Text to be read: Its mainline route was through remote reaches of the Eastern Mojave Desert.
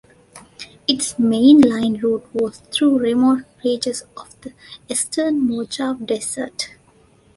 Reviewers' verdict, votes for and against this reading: accepted, 2, 1